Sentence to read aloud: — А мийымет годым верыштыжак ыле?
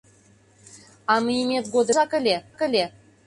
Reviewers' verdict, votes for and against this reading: rejected, 0, 2